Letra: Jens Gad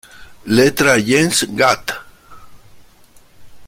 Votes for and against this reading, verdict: 1, 2, rejected